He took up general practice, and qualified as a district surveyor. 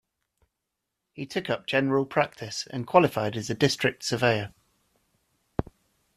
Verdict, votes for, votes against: accepted, 2, 0